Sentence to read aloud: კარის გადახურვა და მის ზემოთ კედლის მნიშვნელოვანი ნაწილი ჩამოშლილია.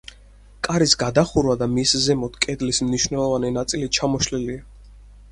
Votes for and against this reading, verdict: 4, 0, accepted